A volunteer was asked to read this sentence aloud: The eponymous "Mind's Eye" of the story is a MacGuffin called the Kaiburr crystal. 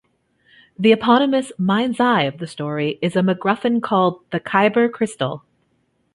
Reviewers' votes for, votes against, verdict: 1, 2, rejected